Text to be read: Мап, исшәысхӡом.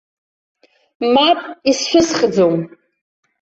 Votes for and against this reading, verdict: 2, 0, accepted